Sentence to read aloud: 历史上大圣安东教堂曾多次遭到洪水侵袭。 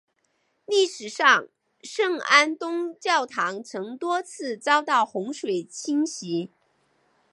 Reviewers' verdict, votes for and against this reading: rejected, 1, 2